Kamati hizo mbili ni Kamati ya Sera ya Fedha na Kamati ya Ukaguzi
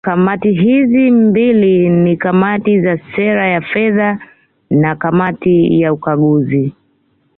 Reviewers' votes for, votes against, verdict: 2, 1, accepted